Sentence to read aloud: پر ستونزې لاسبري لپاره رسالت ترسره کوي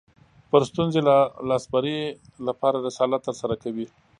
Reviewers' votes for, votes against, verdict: 2, 0, accepted